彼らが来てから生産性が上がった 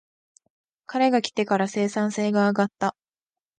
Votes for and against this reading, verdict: 1, 2, rejected